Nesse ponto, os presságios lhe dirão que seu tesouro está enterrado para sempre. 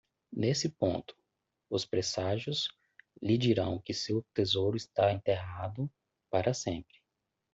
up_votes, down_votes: 2, 0